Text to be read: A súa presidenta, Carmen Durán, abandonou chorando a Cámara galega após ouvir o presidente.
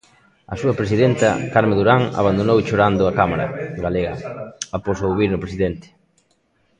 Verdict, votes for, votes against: rejected, 0, 2